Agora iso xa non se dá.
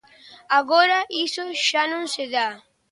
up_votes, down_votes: 3, 0